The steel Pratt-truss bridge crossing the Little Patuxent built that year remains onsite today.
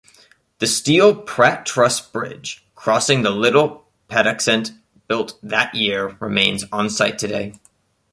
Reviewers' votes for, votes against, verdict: 2, 0, accepted